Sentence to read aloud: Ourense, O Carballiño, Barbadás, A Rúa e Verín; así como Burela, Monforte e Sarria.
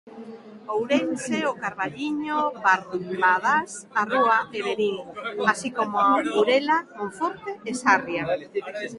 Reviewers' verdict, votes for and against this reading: rejected, 0, 2